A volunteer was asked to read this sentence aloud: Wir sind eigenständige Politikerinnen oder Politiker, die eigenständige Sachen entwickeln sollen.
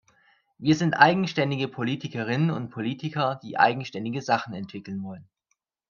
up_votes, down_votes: 1, 2